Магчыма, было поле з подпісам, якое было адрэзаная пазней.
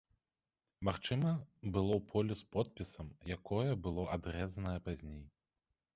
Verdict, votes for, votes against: accepted, 2, 0